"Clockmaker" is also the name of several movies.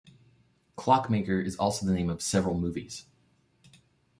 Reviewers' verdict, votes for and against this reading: accepted, 2, 0